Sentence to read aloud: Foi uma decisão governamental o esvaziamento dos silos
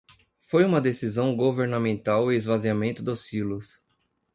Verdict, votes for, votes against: accepted, 2, 0